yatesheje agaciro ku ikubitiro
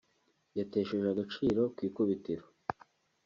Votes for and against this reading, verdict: 2, 0, accepted